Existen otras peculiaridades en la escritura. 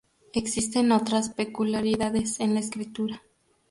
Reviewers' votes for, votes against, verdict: 2, 0, accepted